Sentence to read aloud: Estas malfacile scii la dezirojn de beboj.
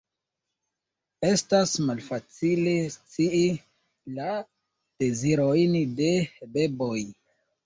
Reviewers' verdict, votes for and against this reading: rejected, 0, 2